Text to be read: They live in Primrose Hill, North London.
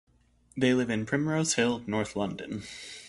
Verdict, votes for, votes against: accepted, 2, 0